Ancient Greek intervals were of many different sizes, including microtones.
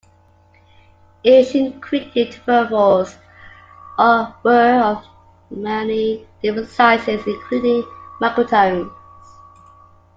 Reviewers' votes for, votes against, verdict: 0, 2, rejected